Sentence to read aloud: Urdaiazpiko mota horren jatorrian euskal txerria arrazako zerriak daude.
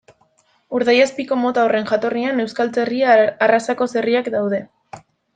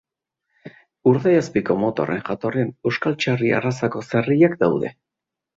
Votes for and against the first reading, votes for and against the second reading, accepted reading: 1, 2, 3, 0, second